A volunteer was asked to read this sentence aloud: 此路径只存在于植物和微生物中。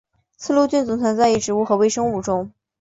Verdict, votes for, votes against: accepted, 2, 0